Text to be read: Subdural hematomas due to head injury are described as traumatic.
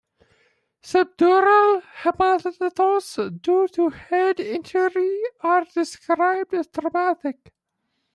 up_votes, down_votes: 0, 2